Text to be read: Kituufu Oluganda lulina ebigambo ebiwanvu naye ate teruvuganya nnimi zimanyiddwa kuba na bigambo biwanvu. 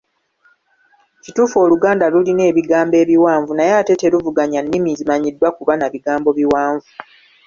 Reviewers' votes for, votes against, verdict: 2, 0, accepted